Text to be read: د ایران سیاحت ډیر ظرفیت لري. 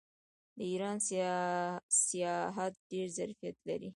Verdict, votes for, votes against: rejected, 0, 2